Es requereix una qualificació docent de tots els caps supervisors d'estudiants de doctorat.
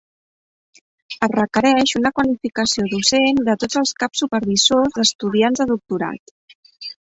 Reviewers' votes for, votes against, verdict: 1, 2, rejected